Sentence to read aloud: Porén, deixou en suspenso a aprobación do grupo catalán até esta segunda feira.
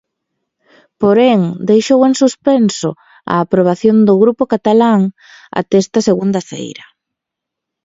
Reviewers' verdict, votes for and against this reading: accepted, 2, 0